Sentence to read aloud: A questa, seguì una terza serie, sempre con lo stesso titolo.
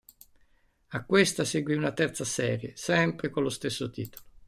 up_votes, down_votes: 1, 2